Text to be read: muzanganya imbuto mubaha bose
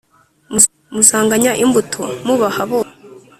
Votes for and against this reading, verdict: 1, 2, rejected